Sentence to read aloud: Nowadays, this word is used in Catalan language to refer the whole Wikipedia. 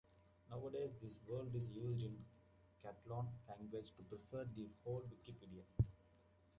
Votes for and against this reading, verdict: 1, 2, rejected